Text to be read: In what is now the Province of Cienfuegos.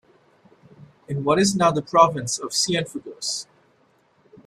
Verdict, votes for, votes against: rejected, 1, 2